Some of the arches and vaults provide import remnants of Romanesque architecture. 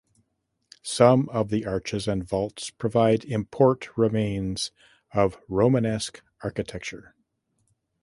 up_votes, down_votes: 0, 2